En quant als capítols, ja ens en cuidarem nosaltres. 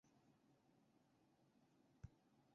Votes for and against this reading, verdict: 0, 2, rejected